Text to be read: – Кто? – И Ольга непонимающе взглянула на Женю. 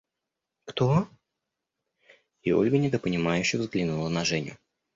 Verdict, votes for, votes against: rejected, 0, 2